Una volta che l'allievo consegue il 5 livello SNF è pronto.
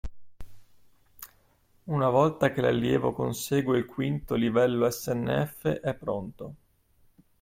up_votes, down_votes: 0, 2